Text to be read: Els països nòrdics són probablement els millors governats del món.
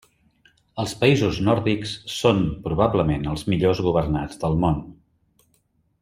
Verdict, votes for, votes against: accepted, 3, 0